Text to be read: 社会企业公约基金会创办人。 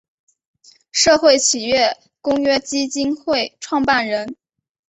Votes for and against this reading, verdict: 6, 0, accepted